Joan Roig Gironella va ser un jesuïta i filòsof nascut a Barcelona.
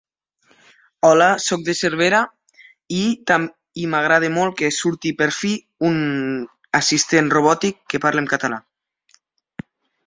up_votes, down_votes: 0, 2